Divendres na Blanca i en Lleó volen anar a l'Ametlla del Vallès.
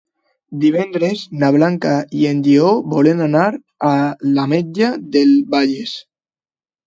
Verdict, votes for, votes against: rejected, 1, 2